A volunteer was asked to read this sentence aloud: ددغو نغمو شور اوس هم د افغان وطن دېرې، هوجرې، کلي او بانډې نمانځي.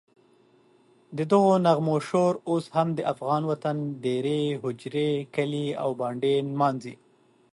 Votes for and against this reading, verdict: 2, 0, accepted